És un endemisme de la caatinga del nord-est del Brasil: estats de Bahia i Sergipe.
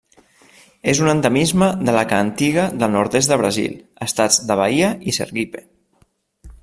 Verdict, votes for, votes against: rejected, 0, 2